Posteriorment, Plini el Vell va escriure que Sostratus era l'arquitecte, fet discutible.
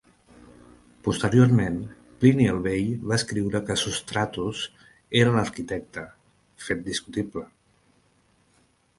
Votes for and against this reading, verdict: 2, 0, accepted